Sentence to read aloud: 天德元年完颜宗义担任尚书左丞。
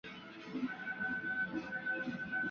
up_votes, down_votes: 1, 4